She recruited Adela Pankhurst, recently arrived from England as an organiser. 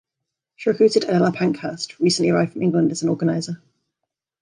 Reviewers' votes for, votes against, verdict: 0, 2, rejected